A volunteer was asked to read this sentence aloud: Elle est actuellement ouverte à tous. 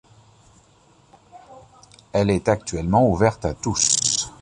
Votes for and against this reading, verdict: 2, 0, accepted